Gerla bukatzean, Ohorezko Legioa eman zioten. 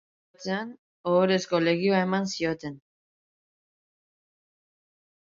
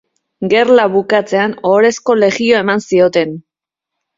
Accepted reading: second